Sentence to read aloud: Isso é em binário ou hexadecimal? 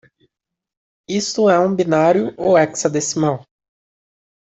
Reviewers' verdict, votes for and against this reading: rejected, 0, 2